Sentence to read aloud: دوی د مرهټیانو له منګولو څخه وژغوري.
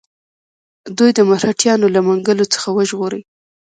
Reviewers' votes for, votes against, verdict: 1, 2, rejected